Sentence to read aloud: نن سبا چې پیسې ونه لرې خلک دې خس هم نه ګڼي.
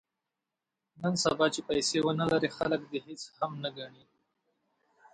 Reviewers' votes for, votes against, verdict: 2, 1, accepted